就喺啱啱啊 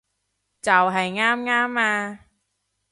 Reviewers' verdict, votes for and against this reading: rejected, 1, 2